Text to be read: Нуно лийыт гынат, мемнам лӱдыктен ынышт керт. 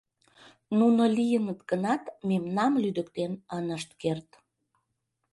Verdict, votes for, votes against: rejected, 1, 2